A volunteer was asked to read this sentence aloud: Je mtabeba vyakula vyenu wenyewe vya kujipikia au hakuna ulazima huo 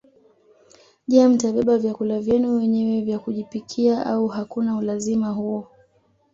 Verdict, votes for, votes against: accepted, 2, 0